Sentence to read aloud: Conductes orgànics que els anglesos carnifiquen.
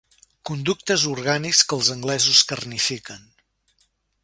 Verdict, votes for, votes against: rejected, 1, 2